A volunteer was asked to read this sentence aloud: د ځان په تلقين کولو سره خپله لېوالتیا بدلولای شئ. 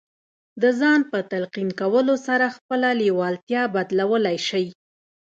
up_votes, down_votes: 2, 0